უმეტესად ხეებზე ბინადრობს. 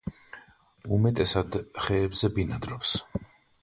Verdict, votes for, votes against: accepted, 2, 0